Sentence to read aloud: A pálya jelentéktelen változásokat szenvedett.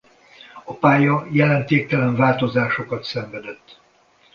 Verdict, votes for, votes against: accepted, 2, 1